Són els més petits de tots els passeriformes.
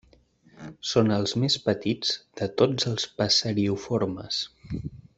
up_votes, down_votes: 1, 2